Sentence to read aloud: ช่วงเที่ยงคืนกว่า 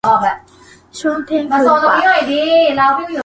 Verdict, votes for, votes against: rejected, 0, 2